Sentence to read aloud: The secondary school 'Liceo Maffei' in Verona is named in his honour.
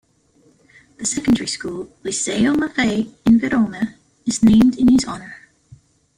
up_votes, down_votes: 2, 0